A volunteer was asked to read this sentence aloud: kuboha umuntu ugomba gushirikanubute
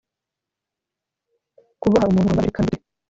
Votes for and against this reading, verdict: 0, 2, rejected